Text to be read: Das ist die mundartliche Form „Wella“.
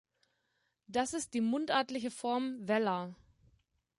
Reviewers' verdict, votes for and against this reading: accepted, 2, 0